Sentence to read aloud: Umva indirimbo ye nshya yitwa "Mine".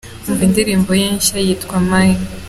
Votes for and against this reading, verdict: 2, 0, accepted